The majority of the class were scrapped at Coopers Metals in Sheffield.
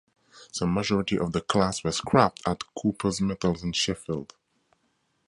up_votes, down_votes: 0, 2